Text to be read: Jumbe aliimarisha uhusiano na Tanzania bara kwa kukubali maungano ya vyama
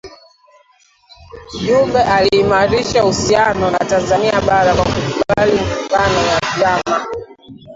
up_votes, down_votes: 0, 2